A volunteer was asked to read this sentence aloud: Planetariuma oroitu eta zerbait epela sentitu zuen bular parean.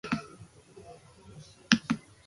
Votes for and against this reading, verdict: 0, 4, rejected